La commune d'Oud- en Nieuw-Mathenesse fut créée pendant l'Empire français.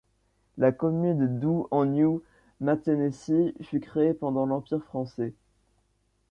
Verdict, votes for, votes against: accepted, 2, 0